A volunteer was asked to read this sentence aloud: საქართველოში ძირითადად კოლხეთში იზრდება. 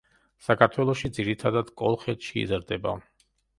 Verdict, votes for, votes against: accepted, 2, 0